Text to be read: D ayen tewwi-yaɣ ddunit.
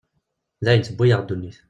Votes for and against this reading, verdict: 2, 1, accepted